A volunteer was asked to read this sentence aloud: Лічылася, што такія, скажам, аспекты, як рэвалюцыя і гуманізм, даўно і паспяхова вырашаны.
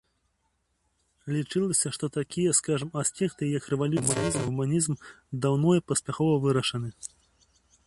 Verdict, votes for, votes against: rejected, 0, 2